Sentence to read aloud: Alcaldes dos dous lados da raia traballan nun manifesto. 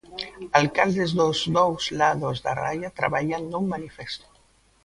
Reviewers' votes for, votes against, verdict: 2, 0, accepted